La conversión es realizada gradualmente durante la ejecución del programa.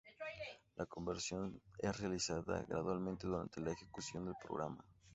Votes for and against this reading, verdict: 0, 2, rejected